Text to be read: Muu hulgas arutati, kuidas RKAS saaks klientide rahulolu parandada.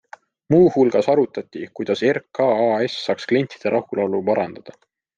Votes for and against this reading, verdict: 2, 0, accepted